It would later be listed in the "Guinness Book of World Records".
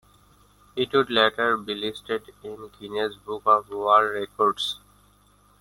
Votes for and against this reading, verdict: 1, 2, rejected